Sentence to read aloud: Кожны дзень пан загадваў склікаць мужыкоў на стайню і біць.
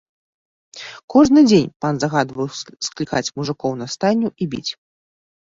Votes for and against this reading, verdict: 1, 2, rejected